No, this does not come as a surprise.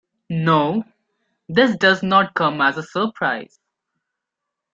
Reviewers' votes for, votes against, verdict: 2, 0, accepted